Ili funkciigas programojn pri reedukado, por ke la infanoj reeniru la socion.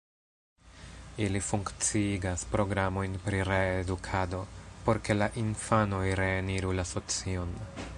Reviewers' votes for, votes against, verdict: 1, 2, rejected